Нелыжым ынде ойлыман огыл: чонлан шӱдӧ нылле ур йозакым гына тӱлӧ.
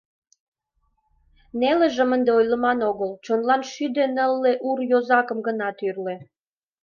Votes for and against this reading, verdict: 1, 2, rejected